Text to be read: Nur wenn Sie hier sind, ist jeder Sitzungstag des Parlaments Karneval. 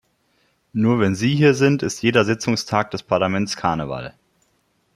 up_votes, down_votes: 2, 0